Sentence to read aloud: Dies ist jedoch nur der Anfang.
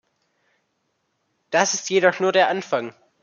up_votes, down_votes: 1, 2